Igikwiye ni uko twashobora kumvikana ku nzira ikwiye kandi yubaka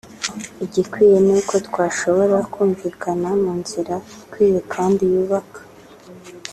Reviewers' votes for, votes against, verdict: 0, 2, rejected